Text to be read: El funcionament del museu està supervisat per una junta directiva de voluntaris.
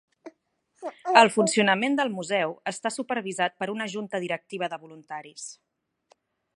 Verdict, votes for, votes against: rejected, 0, 2